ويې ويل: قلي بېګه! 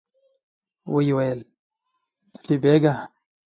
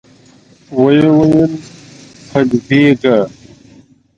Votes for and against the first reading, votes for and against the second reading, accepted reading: 0, 2, 2, 1, second